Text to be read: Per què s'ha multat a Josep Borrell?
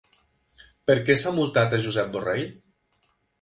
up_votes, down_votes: 3, 0